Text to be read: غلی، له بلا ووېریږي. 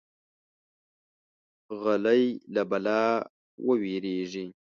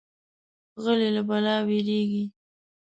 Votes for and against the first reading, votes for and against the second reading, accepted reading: 2, 0, 1, 2, first